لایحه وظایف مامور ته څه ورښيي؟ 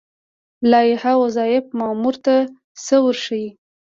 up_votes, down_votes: 2, 0